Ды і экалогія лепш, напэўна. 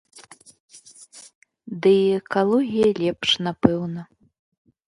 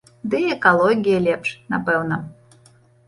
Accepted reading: first